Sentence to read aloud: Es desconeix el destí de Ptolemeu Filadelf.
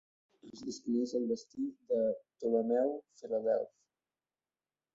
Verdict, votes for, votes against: rejected, 0, 2